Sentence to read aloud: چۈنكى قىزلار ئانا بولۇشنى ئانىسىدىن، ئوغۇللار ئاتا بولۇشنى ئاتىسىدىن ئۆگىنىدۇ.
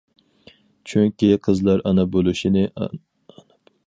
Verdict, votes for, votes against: rejected, 0, 4